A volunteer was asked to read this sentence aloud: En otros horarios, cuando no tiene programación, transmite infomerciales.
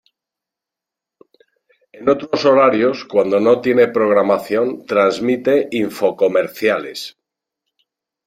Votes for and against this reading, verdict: 0, 2, rejected